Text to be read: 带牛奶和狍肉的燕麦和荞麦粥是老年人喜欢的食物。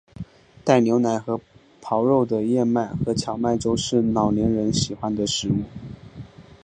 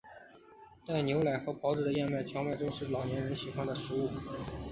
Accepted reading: second